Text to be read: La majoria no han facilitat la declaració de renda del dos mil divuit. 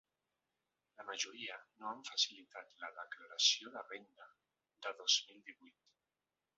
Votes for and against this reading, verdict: 0, 2, rejected